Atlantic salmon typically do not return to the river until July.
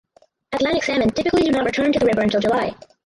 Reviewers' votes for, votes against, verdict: 0, 4, rejected